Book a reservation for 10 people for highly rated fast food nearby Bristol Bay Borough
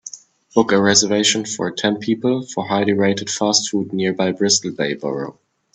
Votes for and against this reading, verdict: 0, 2, rejected